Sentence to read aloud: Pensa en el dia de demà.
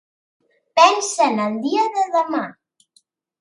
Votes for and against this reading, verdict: 2, 0, accepted